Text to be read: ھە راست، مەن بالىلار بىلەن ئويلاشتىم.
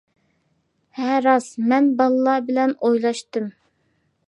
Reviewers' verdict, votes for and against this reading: accepted, 2, 0